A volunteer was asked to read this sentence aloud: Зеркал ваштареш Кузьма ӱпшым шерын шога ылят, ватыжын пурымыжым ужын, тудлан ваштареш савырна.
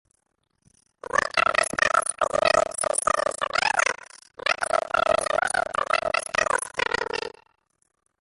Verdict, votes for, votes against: rejected, 0, 2